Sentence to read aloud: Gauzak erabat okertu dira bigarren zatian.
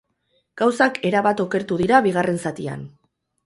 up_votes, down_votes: 2, 2